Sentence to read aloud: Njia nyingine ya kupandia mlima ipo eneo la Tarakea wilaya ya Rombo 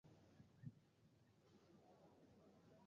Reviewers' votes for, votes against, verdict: 0, 2, rejected